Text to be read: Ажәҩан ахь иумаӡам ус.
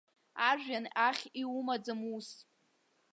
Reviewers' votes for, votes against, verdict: 1, 2, rejected